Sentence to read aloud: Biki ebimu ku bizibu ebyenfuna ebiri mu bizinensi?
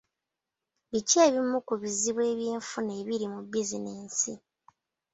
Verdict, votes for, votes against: accepted, 2, 1